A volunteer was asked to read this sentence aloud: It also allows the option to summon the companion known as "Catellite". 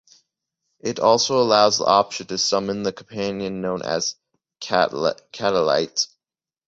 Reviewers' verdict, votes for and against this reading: rejected, 0, 2